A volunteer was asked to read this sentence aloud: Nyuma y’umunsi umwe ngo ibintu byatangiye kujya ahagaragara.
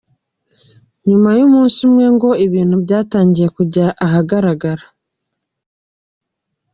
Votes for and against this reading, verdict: 2, 0, accepted